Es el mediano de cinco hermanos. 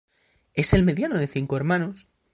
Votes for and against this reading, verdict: 2, 0, accepted